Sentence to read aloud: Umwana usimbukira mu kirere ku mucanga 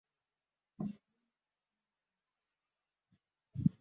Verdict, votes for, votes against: rejected, 0, 2